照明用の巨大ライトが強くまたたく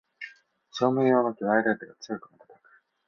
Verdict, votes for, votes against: rejected, 0, 2